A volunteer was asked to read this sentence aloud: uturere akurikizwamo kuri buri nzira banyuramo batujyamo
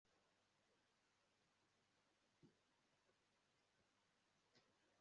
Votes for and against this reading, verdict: 1, 2, rejected